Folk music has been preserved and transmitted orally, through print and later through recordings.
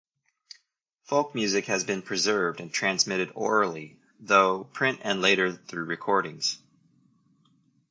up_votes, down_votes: 1, 2